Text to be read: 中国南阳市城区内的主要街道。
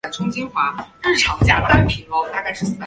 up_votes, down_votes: 0, 5